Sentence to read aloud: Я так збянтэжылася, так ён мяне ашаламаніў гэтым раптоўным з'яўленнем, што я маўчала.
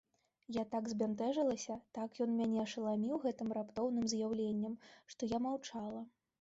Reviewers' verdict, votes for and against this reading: accepted, 2, 0